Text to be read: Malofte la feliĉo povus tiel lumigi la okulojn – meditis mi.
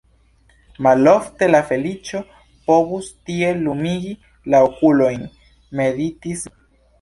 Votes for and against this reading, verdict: 1, 2, rejected